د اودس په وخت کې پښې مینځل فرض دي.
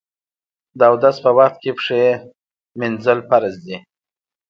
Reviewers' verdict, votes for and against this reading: accepted, 2, 0